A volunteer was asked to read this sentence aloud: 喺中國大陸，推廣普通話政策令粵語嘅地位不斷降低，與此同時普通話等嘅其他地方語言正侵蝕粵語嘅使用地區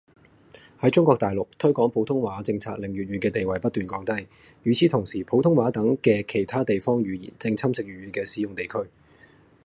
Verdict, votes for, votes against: rejected, 0, 2